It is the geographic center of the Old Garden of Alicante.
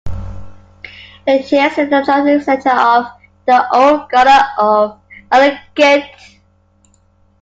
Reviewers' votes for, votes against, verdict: 0, 2, rejected